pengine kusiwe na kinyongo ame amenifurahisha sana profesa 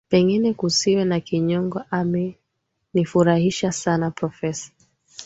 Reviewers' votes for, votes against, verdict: 3, 1, accepted